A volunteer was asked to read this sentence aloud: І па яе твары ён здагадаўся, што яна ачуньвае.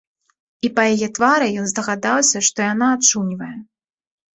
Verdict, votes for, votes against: accepted, 2, 0